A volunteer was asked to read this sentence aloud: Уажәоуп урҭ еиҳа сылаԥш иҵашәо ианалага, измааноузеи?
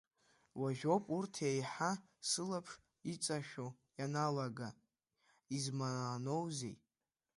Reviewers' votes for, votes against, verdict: 0, 2, rejected